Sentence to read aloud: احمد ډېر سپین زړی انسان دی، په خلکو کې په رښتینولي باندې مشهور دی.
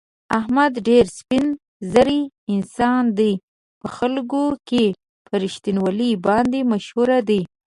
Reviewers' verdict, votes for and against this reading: rejected, 1, 2